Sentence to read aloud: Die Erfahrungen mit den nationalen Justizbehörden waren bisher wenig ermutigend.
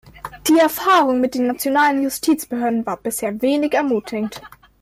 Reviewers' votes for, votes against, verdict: 2, 0, accepted